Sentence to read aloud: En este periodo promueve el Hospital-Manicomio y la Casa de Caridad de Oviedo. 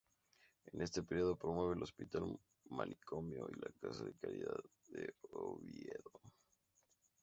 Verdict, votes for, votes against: rejected, 2, 2